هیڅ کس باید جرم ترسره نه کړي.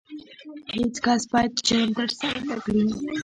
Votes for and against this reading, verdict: 1, 2, rejected